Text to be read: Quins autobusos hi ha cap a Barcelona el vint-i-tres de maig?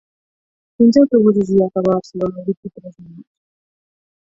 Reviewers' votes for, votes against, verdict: 0, 4, rejected